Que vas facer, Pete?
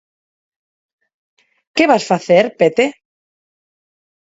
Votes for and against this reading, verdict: 4, 0, accepted